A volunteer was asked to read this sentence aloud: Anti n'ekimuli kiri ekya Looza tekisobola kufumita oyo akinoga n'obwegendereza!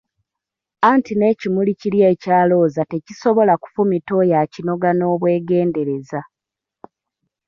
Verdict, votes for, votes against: accepted, 2, 1